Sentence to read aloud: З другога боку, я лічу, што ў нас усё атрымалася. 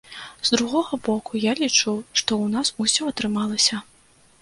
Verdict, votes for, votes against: accepted, 2, 0